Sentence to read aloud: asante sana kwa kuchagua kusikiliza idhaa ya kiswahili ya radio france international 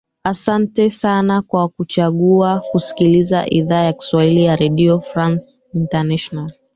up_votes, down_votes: 1, 2